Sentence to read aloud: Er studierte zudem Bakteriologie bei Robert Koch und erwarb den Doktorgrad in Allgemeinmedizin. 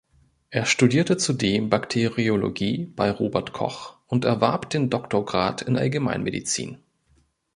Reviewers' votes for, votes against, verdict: 2, 0, accepted